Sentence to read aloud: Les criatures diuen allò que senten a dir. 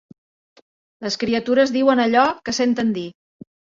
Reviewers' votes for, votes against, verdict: 0, 2, rejected